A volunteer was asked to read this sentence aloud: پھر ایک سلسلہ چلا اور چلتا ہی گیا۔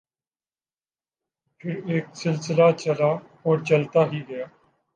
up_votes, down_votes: 0, 2